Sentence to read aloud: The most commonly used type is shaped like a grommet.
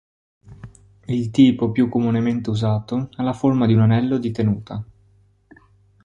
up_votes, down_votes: 1, 2